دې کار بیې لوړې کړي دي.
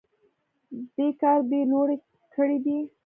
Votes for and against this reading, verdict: 1, 2, rejected